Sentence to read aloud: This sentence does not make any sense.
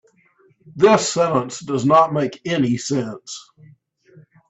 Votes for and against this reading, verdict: 2, 0, accepted